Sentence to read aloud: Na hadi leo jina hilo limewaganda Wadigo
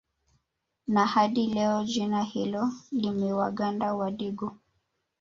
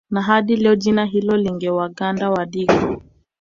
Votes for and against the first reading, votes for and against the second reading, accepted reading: 2, 0, 0, 2, first